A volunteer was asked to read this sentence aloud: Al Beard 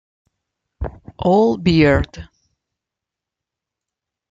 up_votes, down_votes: 1, 2